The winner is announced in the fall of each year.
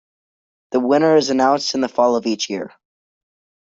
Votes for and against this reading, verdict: 2, 0, accepted